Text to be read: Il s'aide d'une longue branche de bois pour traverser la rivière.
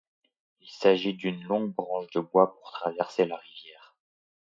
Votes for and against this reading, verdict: 1, 2, rejected